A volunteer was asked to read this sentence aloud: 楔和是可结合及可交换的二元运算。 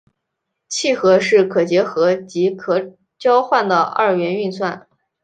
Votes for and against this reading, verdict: 2, 0, accepted